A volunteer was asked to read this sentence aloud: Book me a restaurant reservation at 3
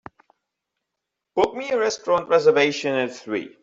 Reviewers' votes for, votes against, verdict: 0, 2, rejected